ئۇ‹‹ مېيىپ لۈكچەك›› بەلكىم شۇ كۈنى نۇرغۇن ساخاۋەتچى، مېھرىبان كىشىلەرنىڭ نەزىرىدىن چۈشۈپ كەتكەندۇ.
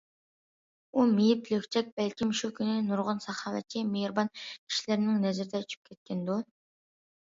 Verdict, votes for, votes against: rejected, 0, 2